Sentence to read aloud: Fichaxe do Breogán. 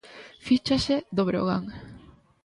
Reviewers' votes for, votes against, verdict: 0, 2, rejected